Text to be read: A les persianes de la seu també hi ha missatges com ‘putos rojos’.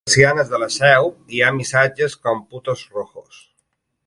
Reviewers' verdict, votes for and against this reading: rejected, 1, 2